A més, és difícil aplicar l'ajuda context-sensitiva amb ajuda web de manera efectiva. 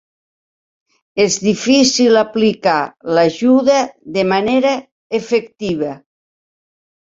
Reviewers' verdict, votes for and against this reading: rejected, 1, 2